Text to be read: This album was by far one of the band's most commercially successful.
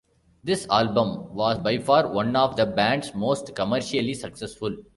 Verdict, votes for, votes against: accepted, 2, 1